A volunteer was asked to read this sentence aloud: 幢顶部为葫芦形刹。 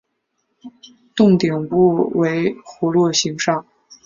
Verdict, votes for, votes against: accepted, 6, 0